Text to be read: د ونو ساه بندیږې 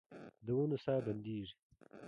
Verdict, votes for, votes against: accepted, 2, 1